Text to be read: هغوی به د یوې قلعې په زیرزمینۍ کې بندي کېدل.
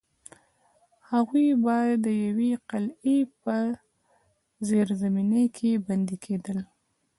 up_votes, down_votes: 2, 0